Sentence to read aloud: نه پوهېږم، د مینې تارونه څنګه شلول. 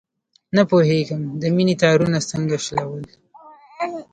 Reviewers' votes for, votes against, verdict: 1, 2, rejected